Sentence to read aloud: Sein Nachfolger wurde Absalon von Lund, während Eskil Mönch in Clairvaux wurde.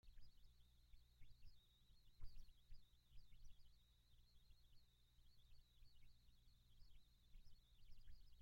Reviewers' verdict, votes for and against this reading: rejected, 0, 2